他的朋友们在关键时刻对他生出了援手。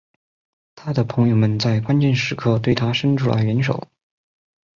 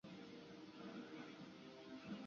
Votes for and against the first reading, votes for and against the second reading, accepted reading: 2, 1, 0, 2, first